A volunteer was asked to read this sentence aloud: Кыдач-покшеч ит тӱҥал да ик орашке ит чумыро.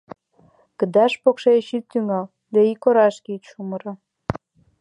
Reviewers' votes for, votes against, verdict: 2, 1, accepted